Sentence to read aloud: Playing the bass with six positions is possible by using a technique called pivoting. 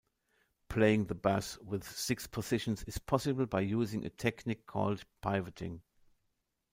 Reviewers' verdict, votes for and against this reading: rejected, 1, 2